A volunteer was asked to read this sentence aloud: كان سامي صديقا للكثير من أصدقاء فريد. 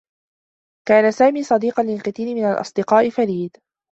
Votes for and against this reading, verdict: 1, 2, rejected